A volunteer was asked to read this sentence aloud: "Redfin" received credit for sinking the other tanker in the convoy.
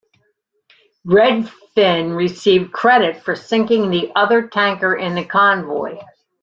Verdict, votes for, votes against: accepted, 2, 0